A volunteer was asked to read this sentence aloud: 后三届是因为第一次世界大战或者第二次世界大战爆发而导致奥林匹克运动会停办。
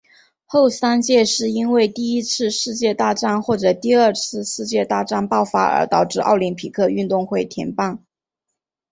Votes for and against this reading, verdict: 3, 2, accepted